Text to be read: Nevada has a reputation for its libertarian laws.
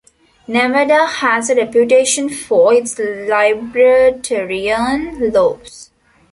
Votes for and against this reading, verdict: 0, 3, rejected